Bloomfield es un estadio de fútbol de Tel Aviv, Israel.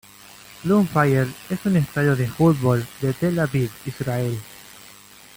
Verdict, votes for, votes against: rejected, 1, 2